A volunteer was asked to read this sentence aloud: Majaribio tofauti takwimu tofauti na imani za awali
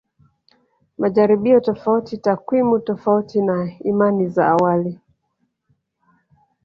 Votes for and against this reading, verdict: 0, 2, rejected